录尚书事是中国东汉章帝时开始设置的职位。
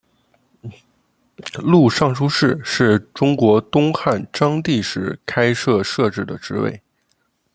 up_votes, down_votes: 1, 2